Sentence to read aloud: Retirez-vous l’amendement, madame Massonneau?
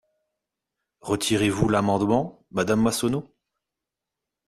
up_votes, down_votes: 2, 0